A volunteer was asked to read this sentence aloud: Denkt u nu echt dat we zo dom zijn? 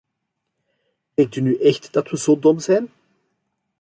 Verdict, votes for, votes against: accepted, 2, 1